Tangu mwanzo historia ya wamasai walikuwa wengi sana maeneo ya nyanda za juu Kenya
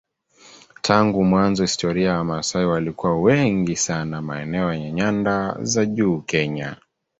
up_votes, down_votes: 2, 1